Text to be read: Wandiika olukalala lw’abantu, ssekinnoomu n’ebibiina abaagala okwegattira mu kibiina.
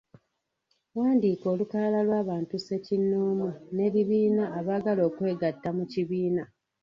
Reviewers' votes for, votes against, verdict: 1, 2, rejected